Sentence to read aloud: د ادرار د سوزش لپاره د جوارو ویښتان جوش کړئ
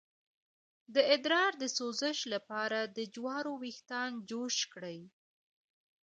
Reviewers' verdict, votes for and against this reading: rejected, 0, 2